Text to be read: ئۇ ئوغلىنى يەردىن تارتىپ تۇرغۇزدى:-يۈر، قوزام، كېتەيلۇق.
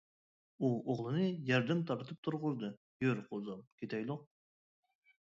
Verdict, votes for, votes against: accepted, 2, 0